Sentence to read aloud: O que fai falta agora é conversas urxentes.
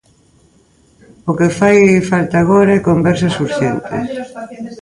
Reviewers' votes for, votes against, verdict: 1, 2, rejected